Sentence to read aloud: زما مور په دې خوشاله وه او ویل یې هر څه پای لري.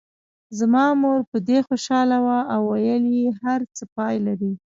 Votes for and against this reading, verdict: 2, 0, accepted